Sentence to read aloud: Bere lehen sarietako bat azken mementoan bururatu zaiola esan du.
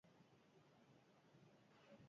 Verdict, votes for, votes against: rejected, 2, 2